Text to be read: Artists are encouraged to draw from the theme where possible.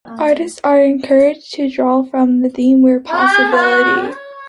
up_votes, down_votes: 0, 2